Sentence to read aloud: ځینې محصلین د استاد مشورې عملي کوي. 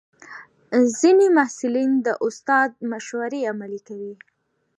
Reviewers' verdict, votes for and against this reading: accepted, 2, 1